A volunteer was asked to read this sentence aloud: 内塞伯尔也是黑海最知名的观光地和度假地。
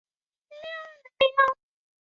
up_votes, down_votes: 0, 2